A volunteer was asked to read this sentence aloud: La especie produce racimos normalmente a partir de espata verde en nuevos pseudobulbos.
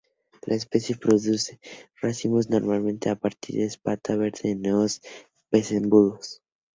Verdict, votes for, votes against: rejected, 0, 2